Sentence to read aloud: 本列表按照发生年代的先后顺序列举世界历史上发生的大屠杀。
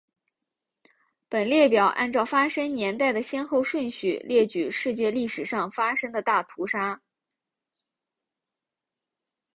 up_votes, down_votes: 2, 0